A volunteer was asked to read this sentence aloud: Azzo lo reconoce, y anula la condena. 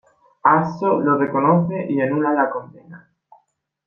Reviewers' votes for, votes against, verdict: 2, 0, accepted